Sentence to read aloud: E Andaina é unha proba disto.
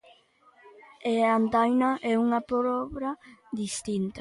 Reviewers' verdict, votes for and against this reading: rejected, 0, 2